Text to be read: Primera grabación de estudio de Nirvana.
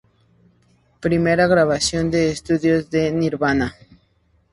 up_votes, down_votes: 4, 0